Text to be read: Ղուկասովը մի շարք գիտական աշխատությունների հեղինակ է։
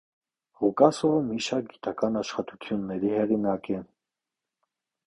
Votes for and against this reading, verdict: 2, 0, accepted